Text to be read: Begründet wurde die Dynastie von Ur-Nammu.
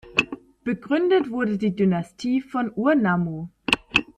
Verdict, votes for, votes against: accepted, 2, 0